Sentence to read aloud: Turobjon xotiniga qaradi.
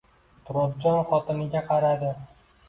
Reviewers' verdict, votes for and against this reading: accepted, 2, 0